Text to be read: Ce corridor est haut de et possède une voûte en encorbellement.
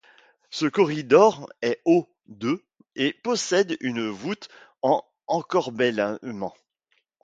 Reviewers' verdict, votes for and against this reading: rejected, 1, 2